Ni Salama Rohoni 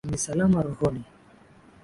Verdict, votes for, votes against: accepted, 5, 0